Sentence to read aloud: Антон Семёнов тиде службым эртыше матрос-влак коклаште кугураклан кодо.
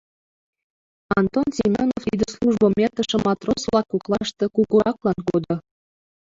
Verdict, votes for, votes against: rejected, 0, 2